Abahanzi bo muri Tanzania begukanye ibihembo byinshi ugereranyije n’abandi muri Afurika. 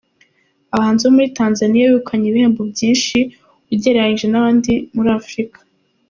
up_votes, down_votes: 2, 0